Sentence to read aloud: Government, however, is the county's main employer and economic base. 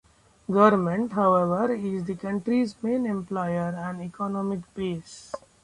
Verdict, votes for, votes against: rejected, 0, 2